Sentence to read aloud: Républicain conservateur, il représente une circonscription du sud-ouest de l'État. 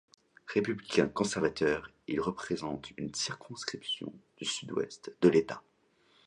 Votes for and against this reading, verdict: 2, 0, accepted